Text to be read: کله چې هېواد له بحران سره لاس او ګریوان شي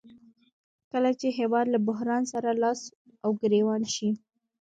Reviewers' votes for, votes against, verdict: 0, 2, rejected